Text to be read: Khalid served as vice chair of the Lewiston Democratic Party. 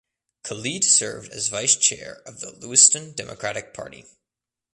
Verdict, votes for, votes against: accepted, 2, 0